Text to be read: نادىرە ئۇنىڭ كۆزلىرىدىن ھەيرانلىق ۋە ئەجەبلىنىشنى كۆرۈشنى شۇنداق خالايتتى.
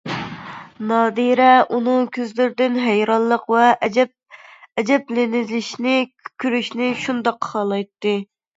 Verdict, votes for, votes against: rejected, 0, 2